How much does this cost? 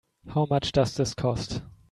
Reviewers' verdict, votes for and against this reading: accepted, 2, 0